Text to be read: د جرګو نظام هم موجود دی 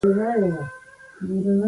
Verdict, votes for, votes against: accepted, 2, 1